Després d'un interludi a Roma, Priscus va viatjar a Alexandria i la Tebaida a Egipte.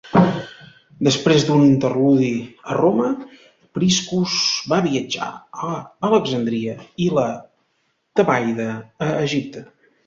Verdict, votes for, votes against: rejected, 1, 2